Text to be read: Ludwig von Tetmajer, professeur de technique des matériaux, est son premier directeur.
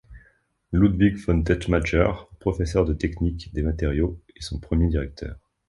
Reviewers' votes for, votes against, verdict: 1, 2, rejected